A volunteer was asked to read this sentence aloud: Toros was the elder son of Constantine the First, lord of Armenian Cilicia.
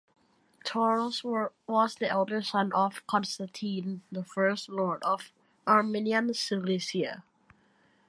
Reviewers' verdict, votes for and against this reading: rejected, 1, 2